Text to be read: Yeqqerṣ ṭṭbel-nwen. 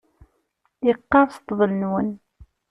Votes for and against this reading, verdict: 2, 0, accepted